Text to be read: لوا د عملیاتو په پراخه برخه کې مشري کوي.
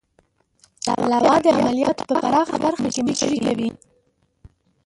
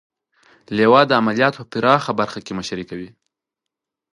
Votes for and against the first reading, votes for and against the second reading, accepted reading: 0, 4, 4, 0, second